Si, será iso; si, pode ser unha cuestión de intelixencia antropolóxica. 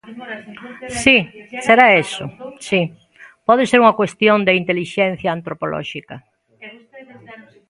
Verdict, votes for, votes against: rejected, 0, 2